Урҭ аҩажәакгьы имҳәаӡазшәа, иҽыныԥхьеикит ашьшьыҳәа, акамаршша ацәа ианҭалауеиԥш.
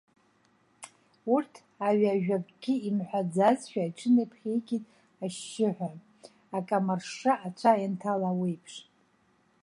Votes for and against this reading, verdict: 0, 2, rejected